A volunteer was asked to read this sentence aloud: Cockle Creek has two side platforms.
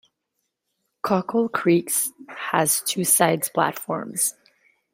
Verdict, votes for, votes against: rejected, 0, 2